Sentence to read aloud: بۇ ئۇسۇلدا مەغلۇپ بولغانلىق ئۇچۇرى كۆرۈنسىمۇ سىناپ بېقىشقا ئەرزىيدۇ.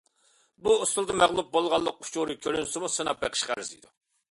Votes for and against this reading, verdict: 2, 0, accepted